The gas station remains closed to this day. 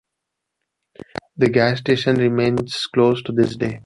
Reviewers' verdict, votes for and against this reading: accepted, 2, 0